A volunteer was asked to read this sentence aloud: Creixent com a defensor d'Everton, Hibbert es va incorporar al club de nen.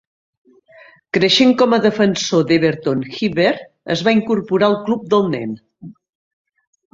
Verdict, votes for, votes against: rejected, 1, 2